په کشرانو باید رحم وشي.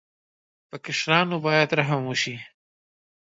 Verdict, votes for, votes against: accepted, 2, 0